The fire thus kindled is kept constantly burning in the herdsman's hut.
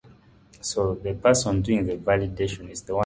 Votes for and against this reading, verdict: 0, 2, rejected